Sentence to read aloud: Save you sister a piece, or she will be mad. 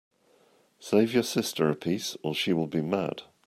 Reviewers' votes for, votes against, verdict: 2, 0, accepted